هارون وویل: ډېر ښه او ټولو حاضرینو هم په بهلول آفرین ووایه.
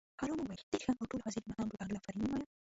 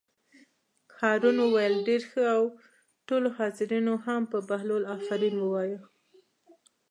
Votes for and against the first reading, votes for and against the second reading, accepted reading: 0, 2, 2, 1, second